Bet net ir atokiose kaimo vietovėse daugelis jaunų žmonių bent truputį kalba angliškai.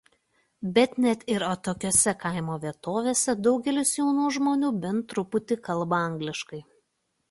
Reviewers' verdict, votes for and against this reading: accepted, 2, 0